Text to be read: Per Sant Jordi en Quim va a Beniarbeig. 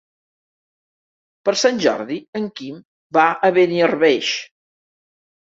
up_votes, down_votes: 1, 2